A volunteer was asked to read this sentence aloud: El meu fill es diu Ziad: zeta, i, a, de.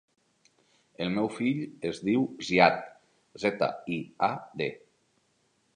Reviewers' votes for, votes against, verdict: 3, 0, accepted